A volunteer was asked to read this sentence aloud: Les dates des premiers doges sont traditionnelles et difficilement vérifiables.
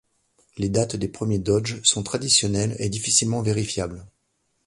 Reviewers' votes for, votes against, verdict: 2, 1, accepted